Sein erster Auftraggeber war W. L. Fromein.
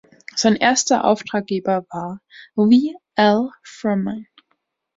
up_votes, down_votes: 1, 2